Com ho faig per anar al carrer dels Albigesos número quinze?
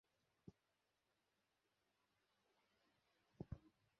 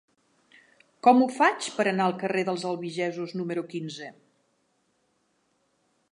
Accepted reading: second